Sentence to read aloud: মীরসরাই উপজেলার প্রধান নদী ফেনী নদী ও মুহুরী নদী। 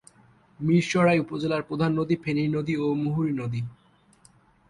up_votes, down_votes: 6, 0